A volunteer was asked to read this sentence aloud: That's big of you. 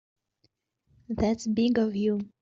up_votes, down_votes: 2, 0